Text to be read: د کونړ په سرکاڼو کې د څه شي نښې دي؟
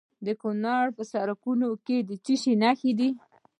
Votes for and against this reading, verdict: 2, 1, accepted